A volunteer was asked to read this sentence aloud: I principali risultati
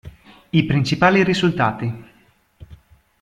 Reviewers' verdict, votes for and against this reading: accepted, 2, 0